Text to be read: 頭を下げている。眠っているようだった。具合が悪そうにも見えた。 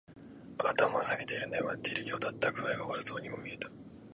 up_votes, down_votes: 2, 0